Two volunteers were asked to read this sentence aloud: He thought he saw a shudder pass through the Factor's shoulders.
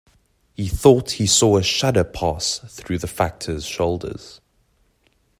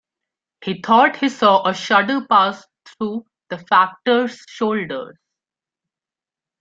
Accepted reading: first